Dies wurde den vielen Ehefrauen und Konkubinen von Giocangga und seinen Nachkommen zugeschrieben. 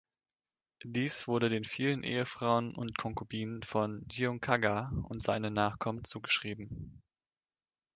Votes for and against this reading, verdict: 0, 2, rejected